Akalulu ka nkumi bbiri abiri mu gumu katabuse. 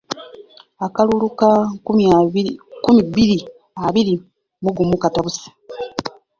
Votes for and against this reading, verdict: 0, 2, rejected